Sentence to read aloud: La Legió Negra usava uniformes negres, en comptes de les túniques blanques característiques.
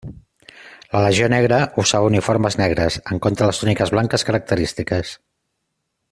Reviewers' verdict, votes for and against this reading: rejected, 1, 2